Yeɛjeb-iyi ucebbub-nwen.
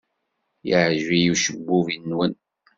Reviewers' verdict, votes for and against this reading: accepted, 2, 0